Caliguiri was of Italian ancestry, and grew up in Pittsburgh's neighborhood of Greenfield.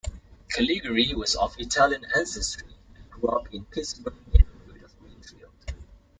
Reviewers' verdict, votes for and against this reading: rejected, 0, 2